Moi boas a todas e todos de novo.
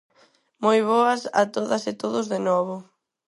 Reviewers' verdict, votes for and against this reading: accepted, 4, 0